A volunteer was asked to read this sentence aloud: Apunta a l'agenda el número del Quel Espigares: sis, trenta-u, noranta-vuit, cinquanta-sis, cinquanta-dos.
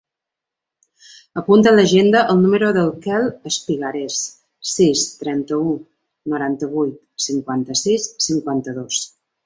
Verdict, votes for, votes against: accepted, 2, 0